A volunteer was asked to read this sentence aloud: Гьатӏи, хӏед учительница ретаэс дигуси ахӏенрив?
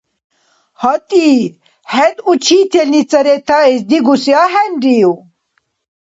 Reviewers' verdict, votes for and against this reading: accepted, 2, 0